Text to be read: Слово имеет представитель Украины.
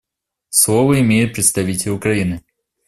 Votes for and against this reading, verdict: 2, 0, accepted